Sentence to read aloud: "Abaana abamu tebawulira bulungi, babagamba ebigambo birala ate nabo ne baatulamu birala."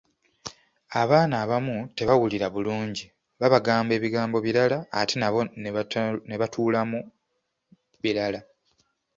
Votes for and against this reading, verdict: 0, 2, rejected